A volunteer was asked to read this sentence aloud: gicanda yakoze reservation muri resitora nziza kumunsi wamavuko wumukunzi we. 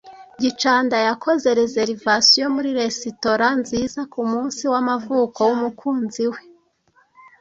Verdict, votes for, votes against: accepted, 2, 0